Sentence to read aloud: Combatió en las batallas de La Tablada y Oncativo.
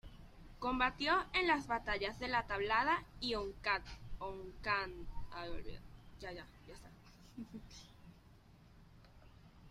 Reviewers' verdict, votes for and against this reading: rejected, 1, 2